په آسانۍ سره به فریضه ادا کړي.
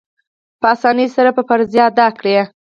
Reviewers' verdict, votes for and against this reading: accepted, 4, 2